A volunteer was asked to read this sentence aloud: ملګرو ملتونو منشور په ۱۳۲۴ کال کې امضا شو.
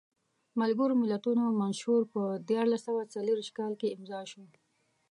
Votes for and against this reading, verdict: 0, 2, rejected